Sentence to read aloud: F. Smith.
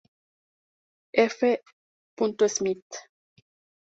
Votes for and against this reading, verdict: 0, 2, rejected